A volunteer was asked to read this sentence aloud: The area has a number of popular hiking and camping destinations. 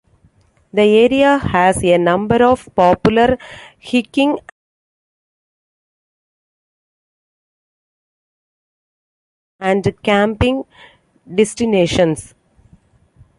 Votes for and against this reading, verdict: 0, 2, rejected